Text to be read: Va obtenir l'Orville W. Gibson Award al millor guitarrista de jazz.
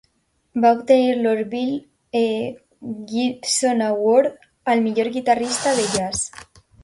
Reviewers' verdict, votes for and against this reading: rejected, 0, 2